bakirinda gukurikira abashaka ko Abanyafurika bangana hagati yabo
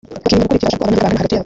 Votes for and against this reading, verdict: 0, 2, rejected